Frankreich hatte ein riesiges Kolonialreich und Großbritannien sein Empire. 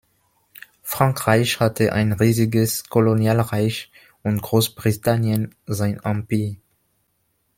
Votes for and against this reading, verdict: 0, 2, rejected